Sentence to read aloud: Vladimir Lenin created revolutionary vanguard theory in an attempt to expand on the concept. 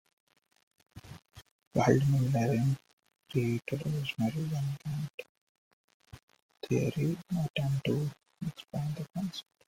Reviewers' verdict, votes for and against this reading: rejected, 1, 2